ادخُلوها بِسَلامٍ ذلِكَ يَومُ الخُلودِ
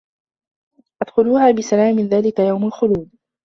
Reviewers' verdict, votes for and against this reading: rejected, 0, 2